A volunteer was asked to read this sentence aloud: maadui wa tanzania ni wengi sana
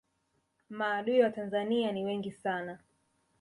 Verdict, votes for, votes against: rejected, 0, 2